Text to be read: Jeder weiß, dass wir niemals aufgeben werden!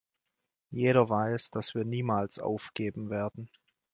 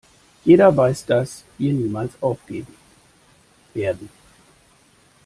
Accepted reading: first